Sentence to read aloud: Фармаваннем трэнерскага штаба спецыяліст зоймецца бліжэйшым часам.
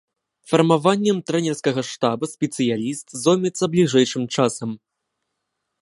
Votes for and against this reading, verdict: 2, 0, accepted